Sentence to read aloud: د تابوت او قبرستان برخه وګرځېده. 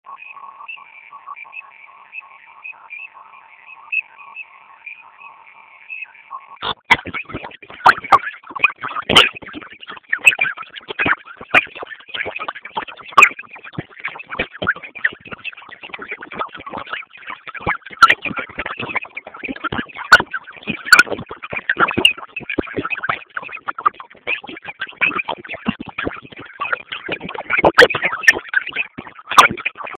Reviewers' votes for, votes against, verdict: 0, 2, rejected